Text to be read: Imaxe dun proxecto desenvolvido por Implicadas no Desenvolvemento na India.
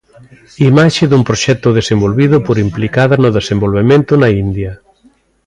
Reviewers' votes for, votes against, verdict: 2, 0, accepted